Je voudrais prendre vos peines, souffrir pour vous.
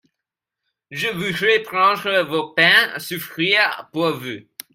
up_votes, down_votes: 1, 2